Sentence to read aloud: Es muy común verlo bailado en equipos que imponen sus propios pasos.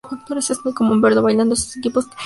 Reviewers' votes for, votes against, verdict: 0, 2, rejected